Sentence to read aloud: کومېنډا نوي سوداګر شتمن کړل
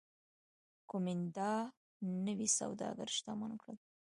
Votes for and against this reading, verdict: 2, 1, accepted